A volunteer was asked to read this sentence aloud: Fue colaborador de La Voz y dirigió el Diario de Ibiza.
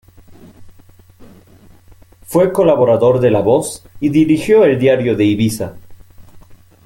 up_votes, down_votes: 3, 0